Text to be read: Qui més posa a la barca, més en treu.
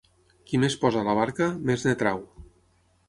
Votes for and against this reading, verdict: 3, 6, rejected